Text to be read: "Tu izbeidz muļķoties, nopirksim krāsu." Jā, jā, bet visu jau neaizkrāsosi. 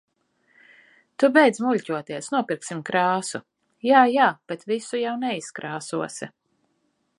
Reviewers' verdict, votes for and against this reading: rejected, 0, 2